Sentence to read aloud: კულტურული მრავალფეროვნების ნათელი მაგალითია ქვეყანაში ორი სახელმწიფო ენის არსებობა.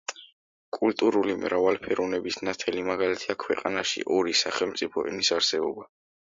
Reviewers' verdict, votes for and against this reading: accepted, 2, 0